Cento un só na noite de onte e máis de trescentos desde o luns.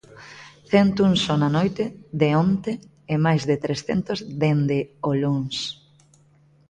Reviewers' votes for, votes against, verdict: 0, 2, rejected